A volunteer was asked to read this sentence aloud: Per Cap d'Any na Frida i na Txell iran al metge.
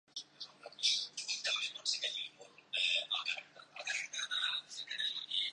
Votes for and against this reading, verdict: 0, 2, rejected